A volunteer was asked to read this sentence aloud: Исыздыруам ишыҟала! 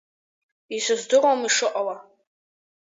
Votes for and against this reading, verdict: 2, 1, accepted